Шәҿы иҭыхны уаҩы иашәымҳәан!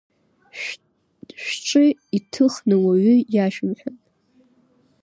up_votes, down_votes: 0, 2